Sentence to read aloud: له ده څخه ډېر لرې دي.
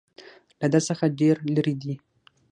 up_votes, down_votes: 3, 6